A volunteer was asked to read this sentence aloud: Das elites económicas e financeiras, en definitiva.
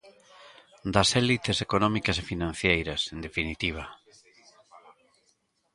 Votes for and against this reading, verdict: 0, 2, rejected